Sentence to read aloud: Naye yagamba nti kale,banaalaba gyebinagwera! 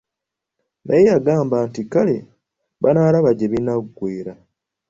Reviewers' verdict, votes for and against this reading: accepted, 3, 0